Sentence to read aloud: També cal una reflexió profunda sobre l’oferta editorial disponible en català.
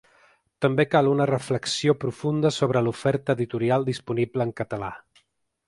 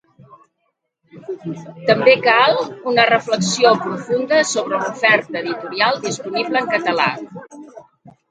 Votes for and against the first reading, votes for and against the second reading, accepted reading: 4, 0, 0, 2, first